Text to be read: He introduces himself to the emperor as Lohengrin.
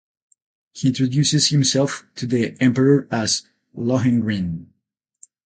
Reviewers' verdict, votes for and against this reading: accepted, 4, 0